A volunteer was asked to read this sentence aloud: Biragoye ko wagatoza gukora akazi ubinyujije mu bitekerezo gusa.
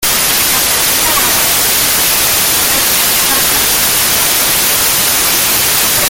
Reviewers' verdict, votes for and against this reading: rejected, 0, 2